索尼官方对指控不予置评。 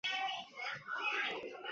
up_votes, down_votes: 0, 10